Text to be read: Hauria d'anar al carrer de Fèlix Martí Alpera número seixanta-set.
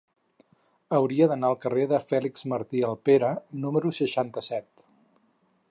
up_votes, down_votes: 4, 0